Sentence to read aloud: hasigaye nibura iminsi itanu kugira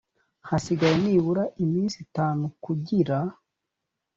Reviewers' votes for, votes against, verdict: 2, 0, accepted